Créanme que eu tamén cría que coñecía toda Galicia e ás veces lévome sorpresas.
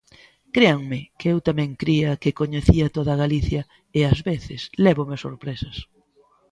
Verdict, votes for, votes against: accepted, 2, 0